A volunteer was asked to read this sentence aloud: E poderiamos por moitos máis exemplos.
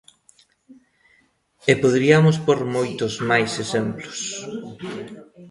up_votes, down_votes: 2, 1